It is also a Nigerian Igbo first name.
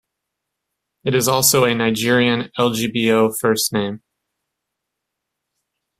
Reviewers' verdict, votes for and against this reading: rejected, 1, 2